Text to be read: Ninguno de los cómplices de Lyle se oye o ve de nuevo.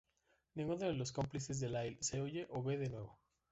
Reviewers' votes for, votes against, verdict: 0, 2, rejected